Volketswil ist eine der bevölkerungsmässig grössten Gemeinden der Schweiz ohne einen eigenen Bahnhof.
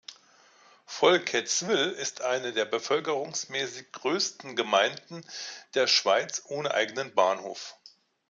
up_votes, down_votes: 0, 2